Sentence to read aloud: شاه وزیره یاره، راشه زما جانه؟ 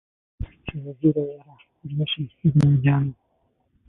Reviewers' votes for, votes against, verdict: 0, 36, rejected